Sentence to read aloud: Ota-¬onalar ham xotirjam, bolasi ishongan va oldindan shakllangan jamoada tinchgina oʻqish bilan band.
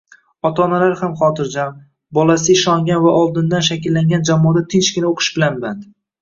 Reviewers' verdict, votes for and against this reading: rejected, 0, 2